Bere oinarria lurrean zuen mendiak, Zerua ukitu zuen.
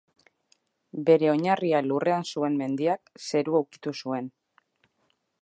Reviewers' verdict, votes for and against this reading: accepted, 2, 0